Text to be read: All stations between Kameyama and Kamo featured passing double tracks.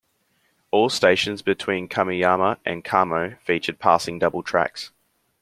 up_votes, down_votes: 2, 0